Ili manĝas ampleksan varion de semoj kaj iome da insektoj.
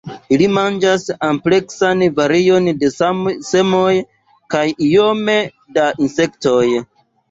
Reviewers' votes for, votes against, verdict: 0, 2, rejected